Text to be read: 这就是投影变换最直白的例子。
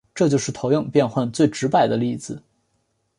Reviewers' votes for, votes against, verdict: 3, 0, accepted